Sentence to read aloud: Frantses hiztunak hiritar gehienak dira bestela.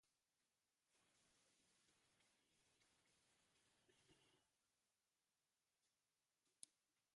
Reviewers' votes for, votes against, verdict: 0, 2, rejected